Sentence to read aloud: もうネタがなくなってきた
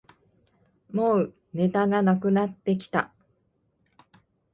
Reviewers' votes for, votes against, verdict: 0, 2, rejected